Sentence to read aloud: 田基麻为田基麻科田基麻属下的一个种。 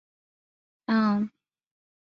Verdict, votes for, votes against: rejected, 0, 2